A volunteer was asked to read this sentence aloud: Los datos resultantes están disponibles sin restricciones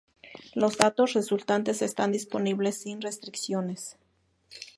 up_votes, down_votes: 2, 0